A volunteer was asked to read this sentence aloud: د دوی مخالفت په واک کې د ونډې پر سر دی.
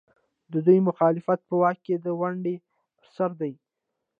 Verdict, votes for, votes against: rejected, 0, 2